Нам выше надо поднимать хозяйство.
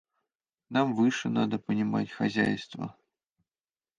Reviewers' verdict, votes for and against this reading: rejected, 0, 2